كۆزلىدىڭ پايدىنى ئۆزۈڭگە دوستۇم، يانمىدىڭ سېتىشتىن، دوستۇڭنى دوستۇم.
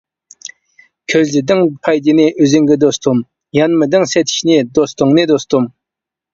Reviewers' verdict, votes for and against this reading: rejected, 0, 2